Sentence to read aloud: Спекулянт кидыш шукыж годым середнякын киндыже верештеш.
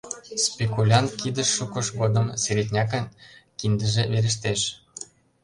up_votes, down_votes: 1, 2